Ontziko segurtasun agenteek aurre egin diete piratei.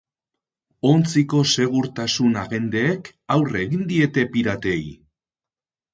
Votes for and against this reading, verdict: 2, 2, rejected